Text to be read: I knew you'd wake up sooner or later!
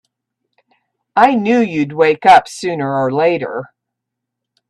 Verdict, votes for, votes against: accepted, 2, 0